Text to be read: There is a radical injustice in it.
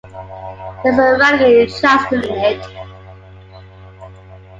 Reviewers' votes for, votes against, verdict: 0, 2, rejected